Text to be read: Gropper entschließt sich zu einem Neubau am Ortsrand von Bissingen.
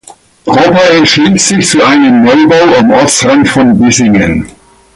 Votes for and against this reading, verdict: 1, 2, rejected